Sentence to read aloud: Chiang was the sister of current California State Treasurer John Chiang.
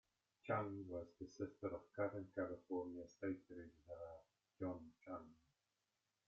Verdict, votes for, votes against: rejected, 1, 2